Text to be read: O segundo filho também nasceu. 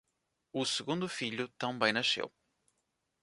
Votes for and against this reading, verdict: 2, 0, accepted